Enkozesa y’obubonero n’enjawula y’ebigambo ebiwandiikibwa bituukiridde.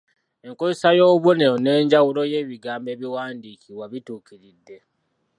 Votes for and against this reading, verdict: 2, 3, rejected